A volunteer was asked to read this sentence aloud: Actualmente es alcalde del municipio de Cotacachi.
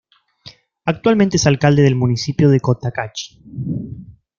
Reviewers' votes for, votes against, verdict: 2, 0, accepted